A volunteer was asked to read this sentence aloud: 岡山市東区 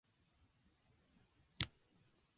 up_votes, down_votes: 0, 2